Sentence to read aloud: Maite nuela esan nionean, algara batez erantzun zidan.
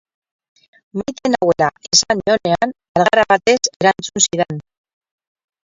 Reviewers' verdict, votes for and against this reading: rejected, 0, 4